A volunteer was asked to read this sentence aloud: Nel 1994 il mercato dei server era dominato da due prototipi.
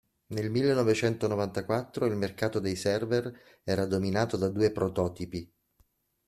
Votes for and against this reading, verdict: 0, 2, rejected